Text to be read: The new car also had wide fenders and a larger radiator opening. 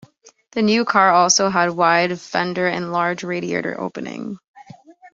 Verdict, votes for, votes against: rejected, 0, 2